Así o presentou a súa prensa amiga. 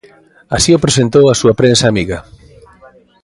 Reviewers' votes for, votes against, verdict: 1, 2, rejected